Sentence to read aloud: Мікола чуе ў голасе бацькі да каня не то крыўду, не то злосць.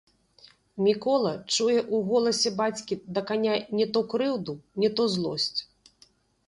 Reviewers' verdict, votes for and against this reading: rejected, 1, 2